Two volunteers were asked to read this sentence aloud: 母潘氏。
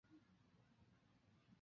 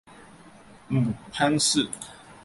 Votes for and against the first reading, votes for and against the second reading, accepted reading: 1, 4, 3, 0, second